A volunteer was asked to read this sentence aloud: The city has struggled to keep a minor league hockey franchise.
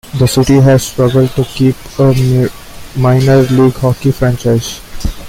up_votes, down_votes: 2, 1